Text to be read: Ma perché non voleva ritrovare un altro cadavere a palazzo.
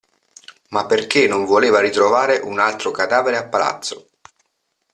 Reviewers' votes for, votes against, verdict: 2, 0, accepted